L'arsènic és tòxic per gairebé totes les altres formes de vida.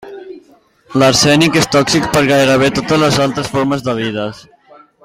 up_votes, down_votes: 0, 2